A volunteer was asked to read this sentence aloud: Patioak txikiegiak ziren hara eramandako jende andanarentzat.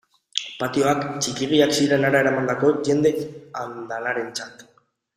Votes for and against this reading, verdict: 1, 2, rejected